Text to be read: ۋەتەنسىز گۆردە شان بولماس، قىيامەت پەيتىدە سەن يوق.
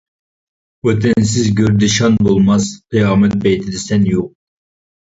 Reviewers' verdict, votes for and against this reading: rejected, 0, 2